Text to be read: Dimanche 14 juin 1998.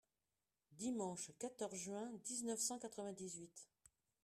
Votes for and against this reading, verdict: 0, 2, rejected